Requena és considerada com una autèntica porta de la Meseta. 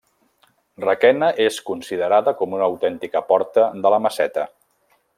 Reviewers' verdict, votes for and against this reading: accepted, 2, 1